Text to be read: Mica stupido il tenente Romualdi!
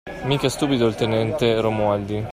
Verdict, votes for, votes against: accepted, 2, 0